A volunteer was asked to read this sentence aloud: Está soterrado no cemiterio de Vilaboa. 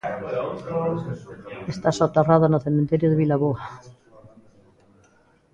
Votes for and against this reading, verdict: 1, 2, rejected